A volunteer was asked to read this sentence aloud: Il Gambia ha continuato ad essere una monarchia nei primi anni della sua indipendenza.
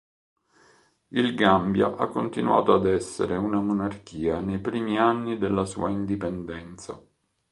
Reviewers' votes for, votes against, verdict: 3, 0, accepted